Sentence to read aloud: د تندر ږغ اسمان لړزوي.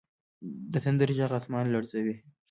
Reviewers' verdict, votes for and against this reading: accepted, 2, 0